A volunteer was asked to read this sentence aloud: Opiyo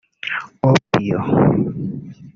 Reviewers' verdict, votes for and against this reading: rejected, 1, 2